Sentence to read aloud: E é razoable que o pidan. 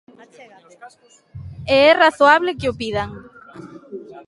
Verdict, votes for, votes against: rejected, 1, 2